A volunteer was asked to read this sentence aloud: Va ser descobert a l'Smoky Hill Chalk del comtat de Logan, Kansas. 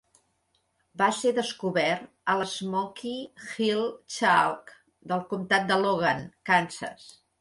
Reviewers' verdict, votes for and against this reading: accepted, 2, 0